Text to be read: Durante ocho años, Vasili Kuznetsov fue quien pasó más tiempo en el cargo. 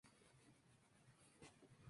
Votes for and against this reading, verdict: 0, 2, rejected